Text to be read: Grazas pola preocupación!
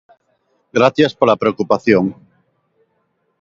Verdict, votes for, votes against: rejected, 0, 2